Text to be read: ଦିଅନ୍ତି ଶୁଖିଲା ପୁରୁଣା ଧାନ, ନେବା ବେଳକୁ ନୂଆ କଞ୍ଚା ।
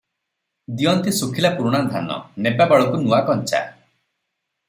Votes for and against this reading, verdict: 0, 3, rejected